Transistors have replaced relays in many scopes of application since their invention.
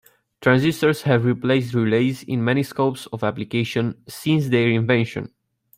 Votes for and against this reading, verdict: 2, 1, accepted